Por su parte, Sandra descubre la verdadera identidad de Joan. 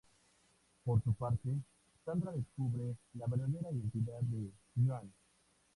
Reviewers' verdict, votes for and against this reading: accepted, 4, 0